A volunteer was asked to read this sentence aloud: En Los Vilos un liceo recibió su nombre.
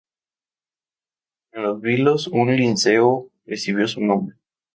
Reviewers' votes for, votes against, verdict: 0, 2, rejected